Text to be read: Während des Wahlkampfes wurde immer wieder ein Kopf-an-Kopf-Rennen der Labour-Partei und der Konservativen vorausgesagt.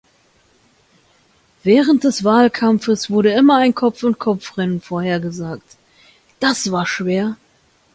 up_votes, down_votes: 0, 2